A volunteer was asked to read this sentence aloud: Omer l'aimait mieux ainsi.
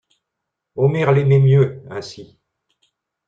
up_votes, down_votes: 2, 1